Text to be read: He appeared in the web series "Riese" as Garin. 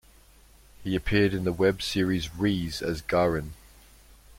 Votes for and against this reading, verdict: 2, 0, accepted